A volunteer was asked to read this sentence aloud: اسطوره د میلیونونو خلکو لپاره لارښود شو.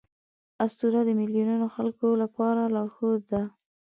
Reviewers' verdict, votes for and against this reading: rejected, 0, 2